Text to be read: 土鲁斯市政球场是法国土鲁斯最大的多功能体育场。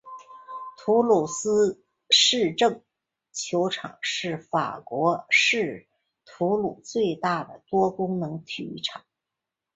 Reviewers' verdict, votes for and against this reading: rejected, 1, 3